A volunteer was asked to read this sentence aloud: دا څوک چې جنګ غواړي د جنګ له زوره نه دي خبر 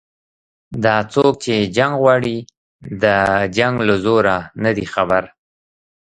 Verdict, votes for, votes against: rejected, 0, 2